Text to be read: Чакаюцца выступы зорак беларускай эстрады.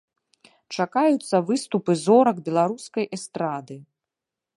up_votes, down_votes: 2, 0